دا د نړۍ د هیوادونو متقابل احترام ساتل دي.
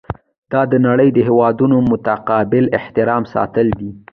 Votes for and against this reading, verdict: 1, 2, rejected